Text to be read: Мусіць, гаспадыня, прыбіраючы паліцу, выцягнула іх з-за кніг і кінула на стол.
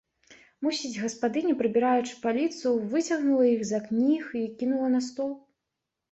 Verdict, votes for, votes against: accepted, 2, 0